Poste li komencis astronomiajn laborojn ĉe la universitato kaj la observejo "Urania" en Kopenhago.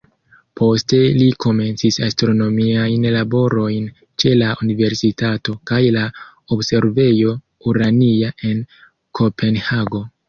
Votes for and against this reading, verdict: 1, 2, rejected